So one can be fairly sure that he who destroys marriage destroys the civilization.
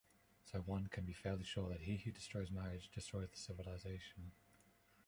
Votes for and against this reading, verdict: 2, 0, accepted